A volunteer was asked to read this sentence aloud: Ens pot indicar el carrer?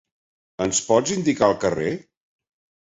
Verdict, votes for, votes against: rejected, 1, 2